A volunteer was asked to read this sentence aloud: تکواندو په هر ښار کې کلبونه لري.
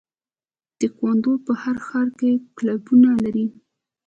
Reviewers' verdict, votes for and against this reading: rejected, 1, 2